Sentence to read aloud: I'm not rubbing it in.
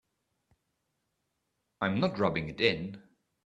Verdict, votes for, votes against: accepted, 2, 0